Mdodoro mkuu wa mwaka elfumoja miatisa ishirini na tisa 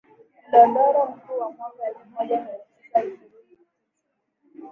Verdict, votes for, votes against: accepted, 2, 1